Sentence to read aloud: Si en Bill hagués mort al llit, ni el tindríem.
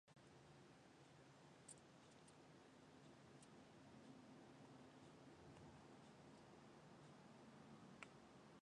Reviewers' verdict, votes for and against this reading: rejected, 0, 2